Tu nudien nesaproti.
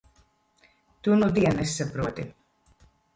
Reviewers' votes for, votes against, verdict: 2, 0, accepted